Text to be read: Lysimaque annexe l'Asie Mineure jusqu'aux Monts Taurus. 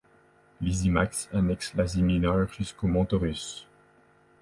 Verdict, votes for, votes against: rejected, 0, 2